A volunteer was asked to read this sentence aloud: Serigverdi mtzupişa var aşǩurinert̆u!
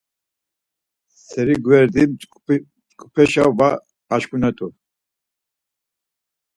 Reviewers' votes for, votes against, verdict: 0, 4, rejected